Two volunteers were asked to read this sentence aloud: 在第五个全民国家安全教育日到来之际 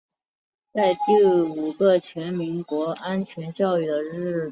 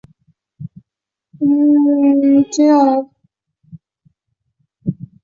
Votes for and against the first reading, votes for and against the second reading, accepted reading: 7, 1, 0, 4, first